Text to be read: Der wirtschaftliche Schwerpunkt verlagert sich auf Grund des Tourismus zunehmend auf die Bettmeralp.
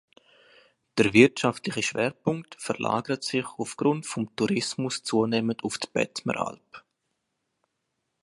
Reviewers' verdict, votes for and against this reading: rejected, 0, 2